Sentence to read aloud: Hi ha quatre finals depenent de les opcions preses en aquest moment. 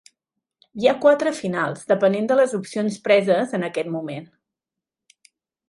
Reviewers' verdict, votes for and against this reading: accepted, 2, 0